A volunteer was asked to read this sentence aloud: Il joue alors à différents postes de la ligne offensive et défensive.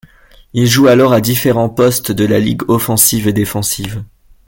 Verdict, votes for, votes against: rejected, 0, 2